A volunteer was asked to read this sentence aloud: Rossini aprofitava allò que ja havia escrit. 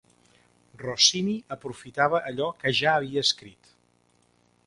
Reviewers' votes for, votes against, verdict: 2, 0, accepted